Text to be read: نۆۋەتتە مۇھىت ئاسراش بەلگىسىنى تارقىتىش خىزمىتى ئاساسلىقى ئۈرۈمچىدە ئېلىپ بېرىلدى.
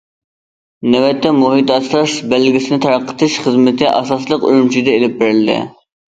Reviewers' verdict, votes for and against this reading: rejected, 1, 2